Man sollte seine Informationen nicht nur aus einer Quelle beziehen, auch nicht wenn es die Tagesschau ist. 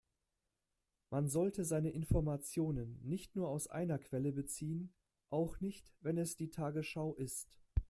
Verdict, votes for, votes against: accepted, 2, 0